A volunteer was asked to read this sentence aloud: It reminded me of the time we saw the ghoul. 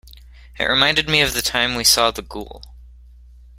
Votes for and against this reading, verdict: 2, 0, accepted